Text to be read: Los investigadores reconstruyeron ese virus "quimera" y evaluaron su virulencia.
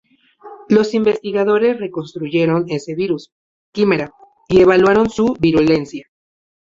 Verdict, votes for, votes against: rejected, 0, 4